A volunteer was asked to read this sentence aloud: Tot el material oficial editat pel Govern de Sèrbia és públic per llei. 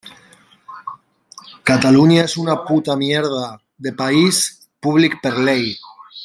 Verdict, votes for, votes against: rejected, 0, 2